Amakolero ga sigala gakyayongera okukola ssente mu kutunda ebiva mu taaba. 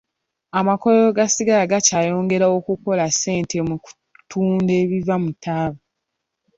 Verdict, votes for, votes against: rejected, 0, 2